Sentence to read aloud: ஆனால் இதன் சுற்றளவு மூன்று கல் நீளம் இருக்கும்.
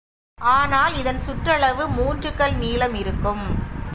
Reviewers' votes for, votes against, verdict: 2, 0, accepted